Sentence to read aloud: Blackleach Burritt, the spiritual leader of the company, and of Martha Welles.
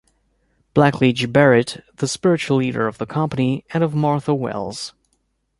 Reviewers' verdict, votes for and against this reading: accepted, 2, 0